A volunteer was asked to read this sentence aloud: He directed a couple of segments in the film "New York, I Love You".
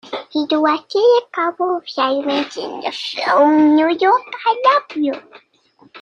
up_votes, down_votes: 0, 2